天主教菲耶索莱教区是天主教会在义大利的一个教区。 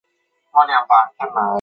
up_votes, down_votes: 0, 2